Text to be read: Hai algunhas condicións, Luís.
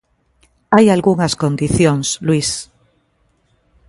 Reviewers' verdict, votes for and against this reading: accepted, 2, 0